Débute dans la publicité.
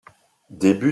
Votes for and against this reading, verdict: 0, 2, rejected